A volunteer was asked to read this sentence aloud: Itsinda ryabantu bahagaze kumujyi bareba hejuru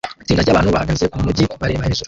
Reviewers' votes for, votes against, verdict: 1, 2, rejected